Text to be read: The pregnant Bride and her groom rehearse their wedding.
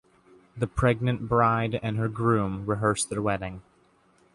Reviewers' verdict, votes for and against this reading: accepted, 3, 0